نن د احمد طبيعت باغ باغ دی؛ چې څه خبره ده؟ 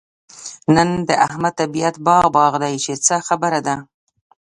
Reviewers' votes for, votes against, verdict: 2, 1, accepted